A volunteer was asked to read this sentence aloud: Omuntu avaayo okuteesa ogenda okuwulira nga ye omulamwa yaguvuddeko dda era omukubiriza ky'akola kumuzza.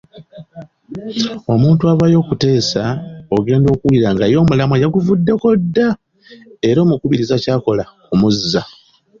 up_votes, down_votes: 2, 0